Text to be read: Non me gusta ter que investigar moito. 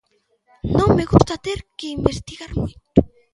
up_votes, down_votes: 1, 2